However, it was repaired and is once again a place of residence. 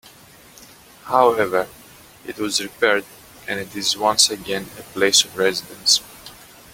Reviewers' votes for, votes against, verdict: 1, 2, rejected